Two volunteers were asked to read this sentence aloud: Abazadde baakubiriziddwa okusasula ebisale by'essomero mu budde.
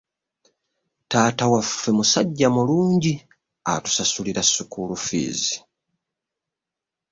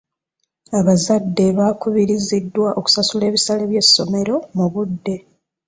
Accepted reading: second